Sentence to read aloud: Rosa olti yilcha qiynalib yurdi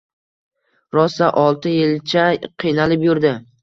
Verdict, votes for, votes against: accepted, 2, 0